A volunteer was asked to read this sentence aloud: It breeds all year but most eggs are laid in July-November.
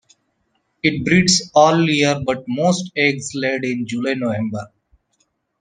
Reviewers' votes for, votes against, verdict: 0, 2, rejected